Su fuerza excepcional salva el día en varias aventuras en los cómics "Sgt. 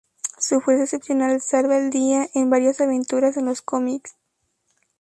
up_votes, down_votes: 0, 2